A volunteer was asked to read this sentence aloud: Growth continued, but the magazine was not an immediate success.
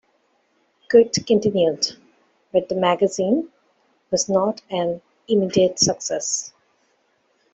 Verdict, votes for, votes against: rejected, 1, 2